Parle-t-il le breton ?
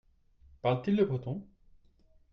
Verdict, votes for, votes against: accepted, 2, 0